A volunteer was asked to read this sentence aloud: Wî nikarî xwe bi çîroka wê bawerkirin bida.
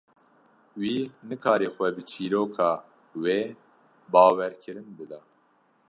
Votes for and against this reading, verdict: 2, 0, accepted